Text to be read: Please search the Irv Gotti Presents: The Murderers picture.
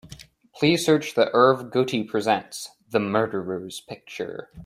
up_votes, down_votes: 2, 0